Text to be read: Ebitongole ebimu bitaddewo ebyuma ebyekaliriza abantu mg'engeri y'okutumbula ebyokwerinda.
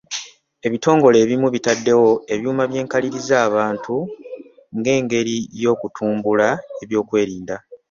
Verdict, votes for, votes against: rejected, 1, 2